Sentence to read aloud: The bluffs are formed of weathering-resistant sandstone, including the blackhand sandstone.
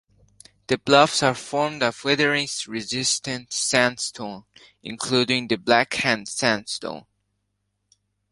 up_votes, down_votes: 2, 0